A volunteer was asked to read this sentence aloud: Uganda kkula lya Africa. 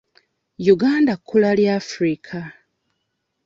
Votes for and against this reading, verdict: 2, 0, accepted